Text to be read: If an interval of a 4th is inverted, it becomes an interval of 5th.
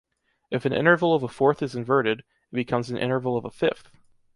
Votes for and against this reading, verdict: 0, 2, rejected